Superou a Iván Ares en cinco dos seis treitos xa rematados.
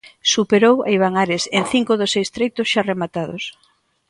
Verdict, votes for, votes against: accepted, 2, 0